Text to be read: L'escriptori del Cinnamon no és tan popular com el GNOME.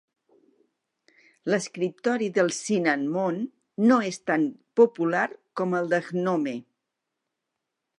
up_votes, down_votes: 1, 2